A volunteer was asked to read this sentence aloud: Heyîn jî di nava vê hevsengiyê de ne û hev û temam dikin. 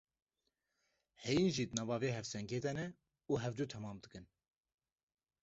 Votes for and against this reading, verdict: 0, 2, rejected